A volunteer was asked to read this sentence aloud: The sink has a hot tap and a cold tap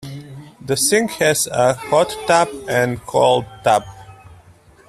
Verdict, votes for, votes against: rejected, 0, 2